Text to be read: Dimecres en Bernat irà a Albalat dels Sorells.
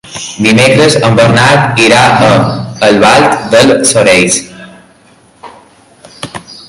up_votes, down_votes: 0, 2